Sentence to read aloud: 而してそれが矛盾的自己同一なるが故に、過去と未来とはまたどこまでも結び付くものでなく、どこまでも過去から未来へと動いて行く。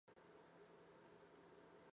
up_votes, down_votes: 0, 2